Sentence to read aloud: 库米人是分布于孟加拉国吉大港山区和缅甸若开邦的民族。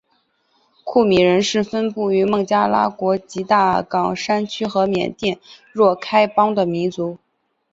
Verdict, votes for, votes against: accepted, 5, 1